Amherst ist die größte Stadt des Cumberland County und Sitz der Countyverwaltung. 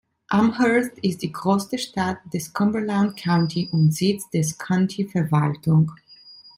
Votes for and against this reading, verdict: 0, 2, rejected